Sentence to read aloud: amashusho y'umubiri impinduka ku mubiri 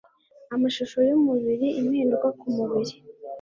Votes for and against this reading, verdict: 2, 0, accepted